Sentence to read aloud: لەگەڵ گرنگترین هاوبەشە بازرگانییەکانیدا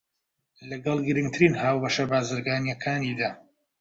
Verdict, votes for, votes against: accepted, 2, 0